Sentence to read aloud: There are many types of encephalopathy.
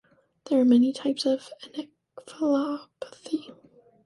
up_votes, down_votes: 1, 2